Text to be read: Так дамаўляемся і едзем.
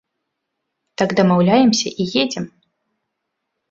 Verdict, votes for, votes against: accepted, 2, 0